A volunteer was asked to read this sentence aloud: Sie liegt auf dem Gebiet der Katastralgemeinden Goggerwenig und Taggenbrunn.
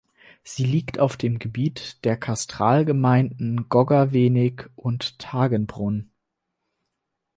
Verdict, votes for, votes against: rejected, 2, 4